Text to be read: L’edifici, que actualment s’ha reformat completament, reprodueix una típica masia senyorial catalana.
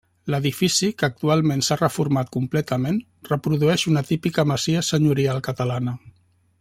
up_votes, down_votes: 1, 2